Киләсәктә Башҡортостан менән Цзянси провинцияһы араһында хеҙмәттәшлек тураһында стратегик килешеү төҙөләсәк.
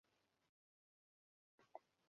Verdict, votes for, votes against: rejected, 0, 2